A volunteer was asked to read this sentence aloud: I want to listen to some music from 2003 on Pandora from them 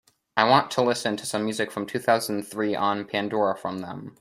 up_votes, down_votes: 0, 2